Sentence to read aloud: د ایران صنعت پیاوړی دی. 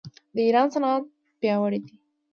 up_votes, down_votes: 2, 0